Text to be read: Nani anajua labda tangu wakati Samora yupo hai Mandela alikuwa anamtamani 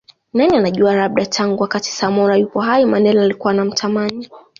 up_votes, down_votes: 0, 2